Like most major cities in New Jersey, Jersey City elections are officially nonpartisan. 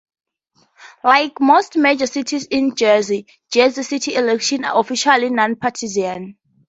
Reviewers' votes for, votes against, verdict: 2, 2, rejected